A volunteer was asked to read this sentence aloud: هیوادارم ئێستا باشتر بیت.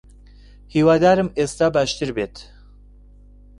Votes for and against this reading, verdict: 2, 0, accepted